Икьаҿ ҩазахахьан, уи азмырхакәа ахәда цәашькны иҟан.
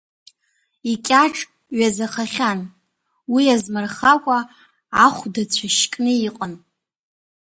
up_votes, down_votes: 2, 0